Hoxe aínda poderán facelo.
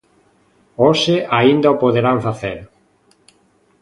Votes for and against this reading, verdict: 0, 2, rejected